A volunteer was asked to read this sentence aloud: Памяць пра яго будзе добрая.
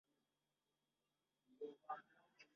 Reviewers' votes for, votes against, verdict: 0, 2, rejected